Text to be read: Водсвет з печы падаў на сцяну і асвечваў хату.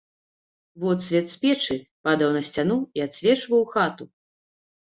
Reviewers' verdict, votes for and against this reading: rejected, 0, 2